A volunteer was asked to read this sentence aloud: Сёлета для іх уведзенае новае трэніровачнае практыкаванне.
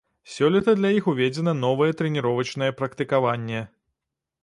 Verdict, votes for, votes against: rejected, 0, 2